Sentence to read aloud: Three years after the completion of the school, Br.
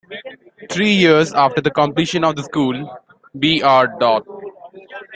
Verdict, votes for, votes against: rejected, 1, 2